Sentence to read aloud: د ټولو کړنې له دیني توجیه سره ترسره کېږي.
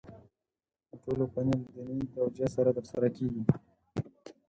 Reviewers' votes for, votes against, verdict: 2, 4, rejected